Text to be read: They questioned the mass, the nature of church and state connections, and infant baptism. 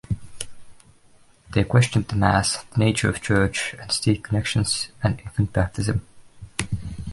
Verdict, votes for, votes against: rejected, 1, 2